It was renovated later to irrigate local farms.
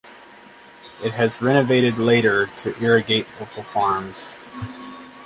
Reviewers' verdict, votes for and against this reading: rejected, 2, 2